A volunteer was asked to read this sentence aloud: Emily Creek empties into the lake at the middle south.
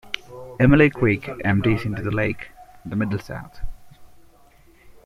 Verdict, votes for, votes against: accepted, 2, 1